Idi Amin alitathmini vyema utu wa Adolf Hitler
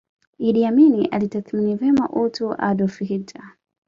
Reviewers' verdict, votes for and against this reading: accepted, 2, 0